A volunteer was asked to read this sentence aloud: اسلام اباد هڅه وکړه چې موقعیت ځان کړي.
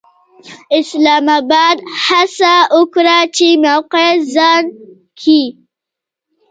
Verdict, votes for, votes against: rejected, 0, 2